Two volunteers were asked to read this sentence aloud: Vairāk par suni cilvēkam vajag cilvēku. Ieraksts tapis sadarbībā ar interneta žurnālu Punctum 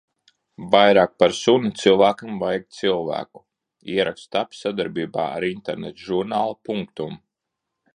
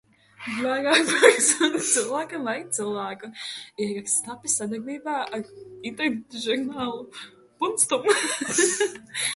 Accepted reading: first